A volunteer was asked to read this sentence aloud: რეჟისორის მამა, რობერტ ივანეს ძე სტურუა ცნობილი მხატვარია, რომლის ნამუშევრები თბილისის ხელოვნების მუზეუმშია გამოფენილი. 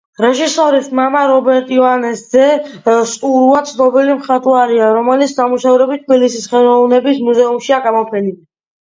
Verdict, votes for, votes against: rejected, 1, 2